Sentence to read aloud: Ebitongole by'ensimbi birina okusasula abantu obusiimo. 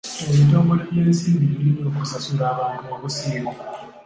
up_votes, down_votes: 2, 0